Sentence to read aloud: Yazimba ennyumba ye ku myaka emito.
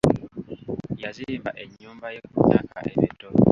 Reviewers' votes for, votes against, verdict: 2, 0, accepted